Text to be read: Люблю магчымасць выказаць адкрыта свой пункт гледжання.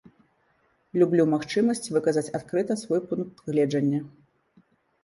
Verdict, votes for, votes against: accepted, 2, 0